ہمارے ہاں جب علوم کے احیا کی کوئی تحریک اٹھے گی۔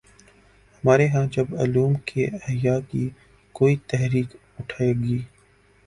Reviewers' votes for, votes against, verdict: 12, 3, accepted